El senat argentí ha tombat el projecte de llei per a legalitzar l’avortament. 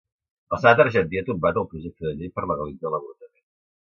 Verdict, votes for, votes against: rejected, 1, 2